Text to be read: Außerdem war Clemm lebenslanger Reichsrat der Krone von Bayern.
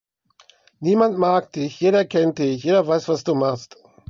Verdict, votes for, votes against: rejected, 0, 2